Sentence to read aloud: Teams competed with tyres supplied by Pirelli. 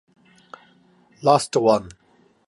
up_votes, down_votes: 0, 2